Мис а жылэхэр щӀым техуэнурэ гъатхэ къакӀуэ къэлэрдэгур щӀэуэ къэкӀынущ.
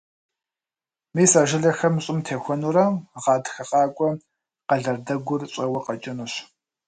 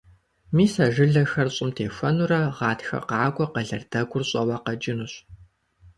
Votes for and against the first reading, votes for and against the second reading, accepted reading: 1, 2, 2, 0, second